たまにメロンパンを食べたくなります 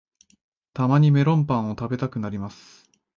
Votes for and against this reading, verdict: 2, 0, accepted